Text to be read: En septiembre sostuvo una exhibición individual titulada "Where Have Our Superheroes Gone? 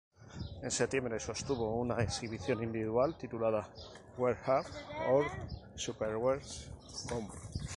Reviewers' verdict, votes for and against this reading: rejected, 2, 2